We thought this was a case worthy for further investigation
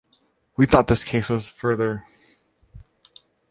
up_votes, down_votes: 0, 2